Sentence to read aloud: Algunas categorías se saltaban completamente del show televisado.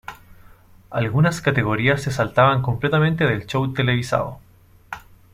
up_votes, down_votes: 2, 0